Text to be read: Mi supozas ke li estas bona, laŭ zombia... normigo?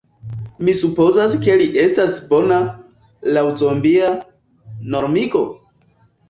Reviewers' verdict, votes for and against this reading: rejected, 1, 2